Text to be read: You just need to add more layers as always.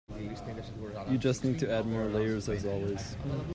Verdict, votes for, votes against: rejected, 0, 2